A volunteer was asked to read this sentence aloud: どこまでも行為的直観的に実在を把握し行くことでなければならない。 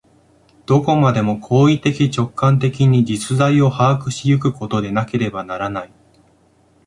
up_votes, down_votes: 2, 0